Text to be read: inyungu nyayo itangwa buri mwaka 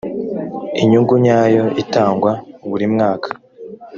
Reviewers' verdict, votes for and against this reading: accepted, 2, 0